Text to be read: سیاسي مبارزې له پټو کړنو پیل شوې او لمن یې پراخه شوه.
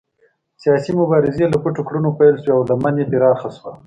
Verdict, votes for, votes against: accepted, 2, 0